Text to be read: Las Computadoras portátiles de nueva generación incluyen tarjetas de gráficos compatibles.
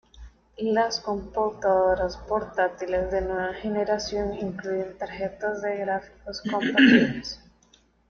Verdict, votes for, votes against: rejected, 1, 2